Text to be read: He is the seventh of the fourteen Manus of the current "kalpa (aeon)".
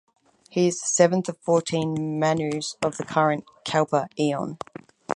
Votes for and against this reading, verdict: 4, 0, accepted